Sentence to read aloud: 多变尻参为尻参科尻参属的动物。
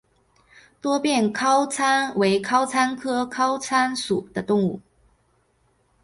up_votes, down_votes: 3, 0